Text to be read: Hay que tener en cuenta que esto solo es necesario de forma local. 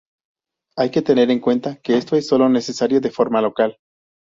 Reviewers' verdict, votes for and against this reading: rejected, 2, 2